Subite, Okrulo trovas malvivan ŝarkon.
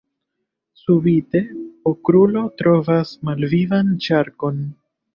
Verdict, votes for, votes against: accepted, 2, 1